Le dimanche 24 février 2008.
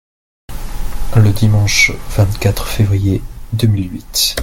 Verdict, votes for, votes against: rejected, 0, 2